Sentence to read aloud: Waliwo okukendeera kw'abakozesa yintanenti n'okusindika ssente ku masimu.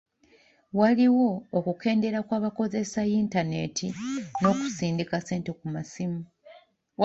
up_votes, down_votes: 1, 2